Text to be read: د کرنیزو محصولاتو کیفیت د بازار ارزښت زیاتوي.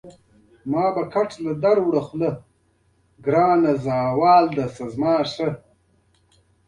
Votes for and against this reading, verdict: 0, 2, rejected